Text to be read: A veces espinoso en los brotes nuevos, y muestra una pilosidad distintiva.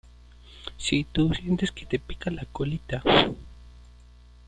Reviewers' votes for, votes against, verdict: 0, 2, rejected